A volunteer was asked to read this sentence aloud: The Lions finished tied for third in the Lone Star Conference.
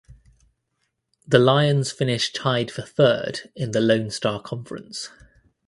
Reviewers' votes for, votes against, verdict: 2, 0, accepted